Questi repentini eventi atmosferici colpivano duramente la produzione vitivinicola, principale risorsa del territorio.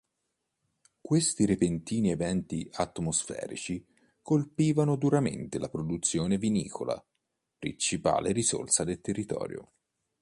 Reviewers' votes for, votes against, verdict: 1, 2, rejected